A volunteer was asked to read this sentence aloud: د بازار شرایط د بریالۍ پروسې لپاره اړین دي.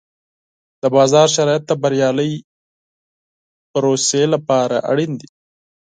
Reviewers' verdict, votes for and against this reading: accepted, 4, 0